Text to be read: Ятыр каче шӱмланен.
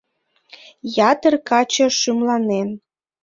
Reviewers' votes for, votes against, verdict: 2, 0, accepted